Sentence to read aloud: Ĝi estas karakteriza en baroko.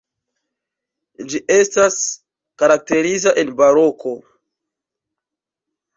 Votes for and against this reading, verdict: 1, 2, rejected